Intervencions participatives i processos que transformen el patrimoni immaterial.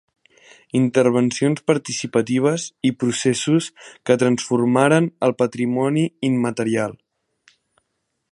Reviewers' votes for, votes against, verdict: 0, 2, rejected